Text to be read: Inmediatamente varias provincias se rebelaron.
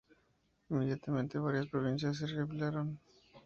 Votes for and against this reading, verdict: 2, 2, rejected